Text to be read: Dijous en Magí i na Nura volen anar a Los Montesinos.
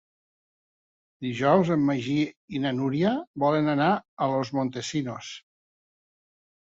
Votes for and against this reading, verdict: 0, 2, rejected